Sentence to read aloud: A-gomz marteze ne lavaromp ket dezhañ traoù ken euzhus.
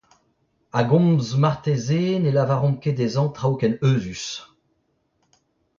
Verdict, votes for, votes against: accepted, 2, 1